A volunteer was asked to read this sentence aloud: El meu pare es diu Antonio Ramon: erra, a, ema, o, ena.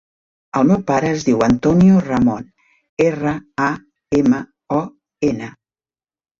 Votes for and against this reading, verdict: 3, 0, accepted